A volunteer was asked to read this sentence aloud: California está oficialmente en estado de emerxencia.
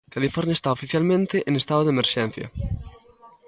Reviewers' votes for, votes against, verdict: 0, 2, rejected